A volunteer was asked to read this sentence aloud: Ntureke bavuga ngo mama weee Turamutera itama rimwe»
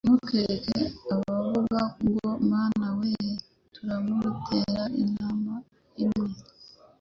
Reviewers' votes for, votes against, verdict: 0, 2, rejected